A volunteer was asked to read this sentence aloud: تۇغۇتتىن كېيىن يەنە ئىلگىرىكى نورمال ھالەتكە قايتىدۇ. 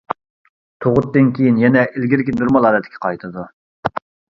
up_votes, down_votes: 0, 2